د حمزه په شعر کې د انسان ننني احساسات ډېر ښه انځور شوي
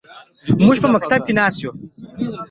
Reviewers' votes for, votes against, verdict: 1, 2, rejected